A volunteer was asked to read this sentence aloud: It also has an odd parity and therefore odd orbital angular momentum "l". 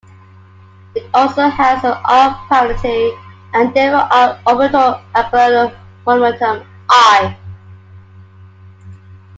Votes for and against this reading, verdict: 0, 2, rejected